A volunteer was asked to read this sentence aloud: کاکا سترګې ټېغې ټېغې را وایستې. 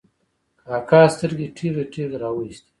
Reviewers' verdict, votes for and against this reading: accepted, 2, 0